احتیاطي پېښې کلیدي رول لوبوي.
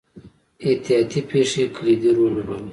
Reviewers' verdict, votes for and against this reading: rejected, 1, 2